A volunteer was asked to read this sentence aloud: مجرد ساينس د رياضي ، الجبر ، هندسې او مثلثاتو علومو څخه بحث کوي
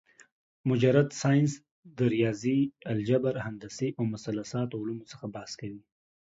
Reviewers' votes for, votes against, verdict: 2, 0, accepted